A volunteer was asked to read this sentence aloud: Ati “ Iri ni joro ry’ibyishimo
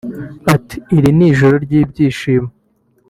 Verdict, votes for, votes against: accepted, 3, 1